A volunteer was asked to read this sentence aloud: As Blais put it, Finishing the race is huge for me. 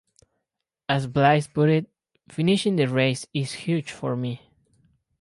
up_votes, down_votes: 4, 0